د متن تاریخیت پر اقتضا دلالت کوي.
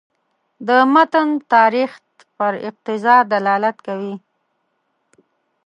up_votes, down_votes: 0, 2